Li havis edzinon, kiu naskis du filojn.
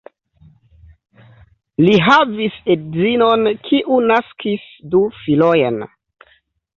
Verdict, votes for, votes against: rejected, 1, 2